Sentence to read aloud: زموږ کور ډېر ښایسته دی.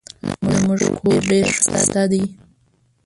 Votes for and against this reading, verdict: 1, 2, rejected